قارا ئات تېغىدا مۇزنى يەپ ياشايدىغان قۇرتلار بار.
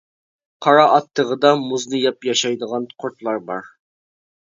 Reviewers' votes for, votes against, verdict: 2, 0, accepted